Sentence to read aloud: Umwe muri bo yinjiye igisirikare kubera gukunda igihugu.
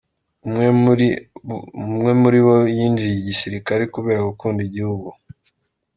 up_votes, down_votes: 2, 0